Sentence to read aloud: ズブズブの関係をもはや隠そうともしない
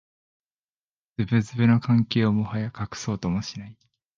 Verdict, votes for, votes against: rejected, 0, 2